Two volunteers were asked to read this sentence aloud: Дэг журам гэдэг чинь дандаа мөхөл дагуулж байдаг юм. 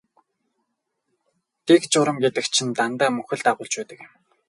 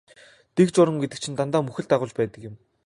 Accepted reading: second